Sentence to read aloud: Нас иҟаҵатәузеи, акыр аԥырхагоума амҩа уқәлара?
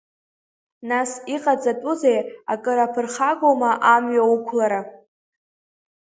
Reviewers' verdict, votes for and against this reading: accepted, 2, 1